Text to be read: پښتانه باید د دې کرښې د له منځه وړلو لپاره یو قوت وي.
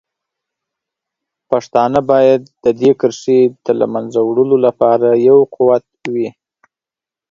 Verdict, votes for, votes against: accepted, 8, 0